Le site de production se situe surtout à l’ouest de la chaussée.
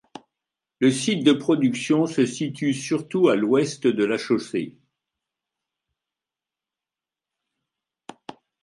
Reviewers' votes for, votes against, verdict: 2, 0, accepted